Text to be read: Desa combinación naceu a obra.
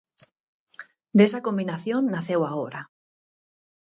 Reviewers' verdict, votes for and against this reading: accepted, 4, 0